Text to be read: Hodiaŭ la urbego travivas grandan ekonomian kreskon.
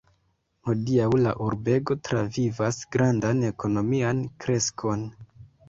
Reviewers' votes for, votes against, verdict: 0, 2, rejected